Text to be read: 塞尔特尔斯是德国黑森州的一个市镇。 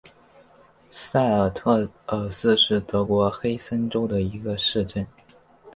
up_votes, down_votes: 3, 1